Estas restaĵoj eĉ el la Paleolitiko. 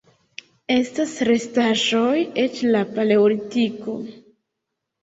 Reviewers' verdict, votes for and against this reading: rejected, 1, 2